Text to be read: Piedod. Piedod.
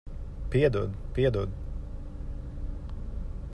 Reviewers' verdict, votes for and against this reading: accepted, 2, 0